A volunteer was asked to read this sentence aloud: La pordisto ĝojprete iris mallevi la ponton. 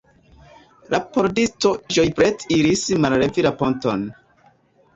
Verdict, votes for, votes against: rejected, 0, 2